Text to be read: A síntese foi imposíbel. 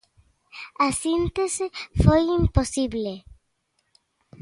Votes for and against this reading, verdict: 0, 2, rejected